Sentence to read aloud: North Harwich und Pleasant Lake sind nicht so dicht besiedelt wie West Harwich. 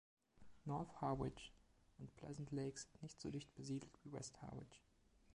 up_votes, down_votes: 1, 2